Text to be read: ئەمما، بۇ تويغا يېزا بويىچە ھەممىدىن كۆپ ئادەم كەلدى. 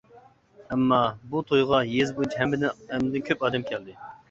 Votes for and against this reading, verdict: 0, 2, rejected